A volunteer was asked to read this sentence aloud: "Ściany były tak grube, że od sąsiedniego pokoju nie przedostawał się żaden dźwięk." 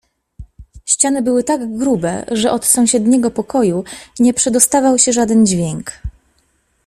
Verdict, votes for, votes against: accepted, 2, 0